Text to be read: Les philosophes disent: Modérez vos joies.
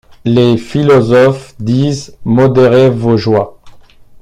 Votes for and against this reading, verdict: 2, 0, accepted